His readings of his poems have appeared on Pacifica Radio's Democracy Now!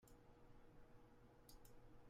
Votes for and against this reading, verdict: 0, 2, rejected